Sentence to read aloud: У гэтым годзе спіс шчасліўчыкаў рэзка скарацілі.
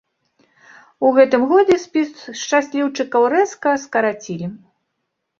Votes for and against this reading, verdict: 2, 0, accepted